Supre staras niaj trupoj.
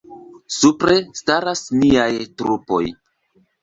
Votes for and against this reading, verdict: 2, 1, accepted